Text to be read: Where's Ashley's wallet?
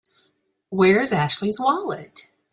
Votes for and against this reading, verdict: 3, 0, accepted